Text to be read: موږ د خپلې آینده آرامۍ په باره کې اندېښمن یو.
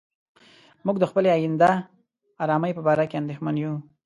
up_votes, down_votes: 2, 0